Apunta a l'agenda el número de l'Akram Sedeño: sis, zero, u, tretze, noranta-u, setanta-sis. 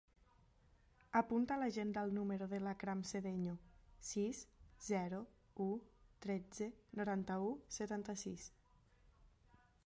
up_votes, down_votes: 2, 1